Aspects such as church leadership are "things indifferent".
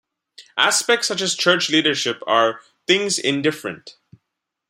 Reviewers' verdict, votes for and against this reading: accepted, 2, 0